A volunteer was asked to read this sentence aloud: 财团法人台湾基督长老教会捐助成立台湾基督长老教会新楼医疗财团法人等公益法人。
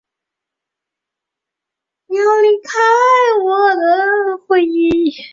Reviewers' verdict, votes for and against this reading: rejected, 0, 2